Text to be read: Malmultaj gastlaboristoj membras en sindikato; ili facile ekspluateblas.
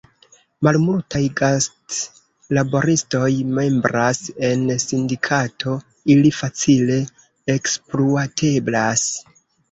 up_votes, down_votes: 0, 2